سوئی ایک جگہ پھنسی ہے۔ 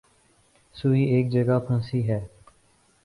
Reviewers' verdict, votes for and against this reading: rejected, 0, 2